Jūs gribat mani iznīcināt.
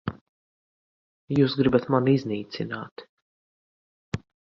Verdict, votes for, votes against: accepted, 2, 1